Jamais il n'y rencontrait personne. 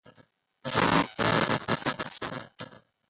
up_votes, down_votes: 0, 2